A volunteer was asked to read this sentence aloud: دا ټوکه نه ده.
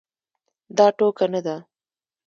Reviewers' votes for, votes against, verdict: 0, 2, rejected